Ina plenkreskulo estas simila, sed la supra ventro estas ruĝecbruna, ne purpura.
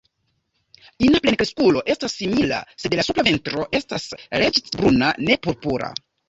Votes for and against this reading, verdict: 3, 0, accepted